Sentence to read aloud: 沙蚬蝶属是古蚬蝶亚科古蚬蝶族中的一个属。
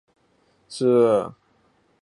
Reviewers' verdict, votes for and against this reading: rejected, 1, 2